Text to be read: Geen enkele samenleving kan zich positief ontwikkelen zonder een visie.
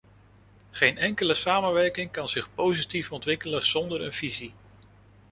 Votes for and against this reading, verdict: 0, 2, rejected